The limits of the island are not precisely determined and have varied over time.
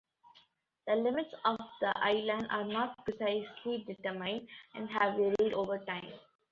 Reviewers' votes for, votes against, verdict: 2, 0, accepted